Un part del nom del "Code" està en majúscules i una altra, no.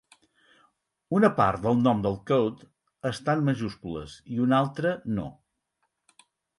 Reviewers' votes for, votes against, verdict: 2, 4, rejected